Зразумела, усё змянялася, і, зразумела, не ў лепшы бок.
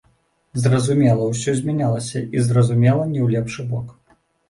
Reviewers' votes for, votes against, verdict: 1, 2, rejected